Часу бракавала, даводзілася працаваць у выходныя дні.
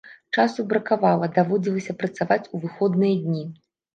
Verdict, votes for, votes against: accepted, 2, 0